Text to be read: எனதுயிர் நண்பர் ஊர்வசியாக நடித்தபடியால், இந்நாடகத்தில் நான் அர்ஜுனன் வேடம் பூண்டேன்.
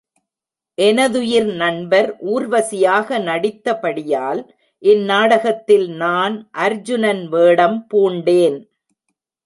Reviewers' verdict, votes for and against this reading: accepted, 2, 0